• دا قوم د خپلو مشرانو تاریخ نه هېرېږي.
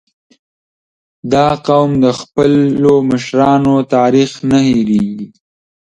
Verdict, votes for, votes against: rejected, 1, 2